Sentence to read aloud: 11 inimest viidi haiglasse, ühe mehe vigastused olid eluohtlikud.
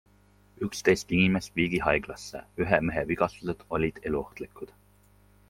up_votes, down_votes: 0, 2